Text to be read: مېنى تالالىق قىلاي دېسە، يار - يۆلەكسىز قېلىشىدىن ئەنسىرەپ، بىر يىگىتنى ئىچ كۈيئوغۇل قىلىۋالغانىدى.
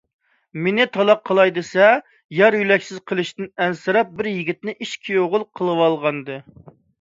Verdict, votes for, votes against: rejected, 0, 2